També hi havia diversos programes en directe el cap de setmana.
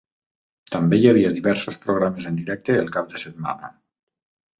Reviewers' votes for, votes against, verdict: 3, 0, accepted